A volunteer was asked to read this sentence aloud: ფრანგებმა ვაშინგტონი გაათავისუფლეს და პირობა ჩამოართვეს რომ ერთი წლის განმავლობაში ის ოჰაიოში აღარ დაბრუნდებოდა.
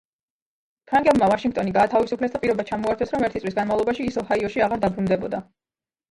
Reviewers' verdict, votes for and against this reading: rejected, 0, 2